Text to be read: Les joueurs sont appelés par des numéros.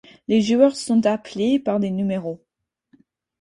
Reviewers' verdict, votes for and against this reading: accepted, 4, 0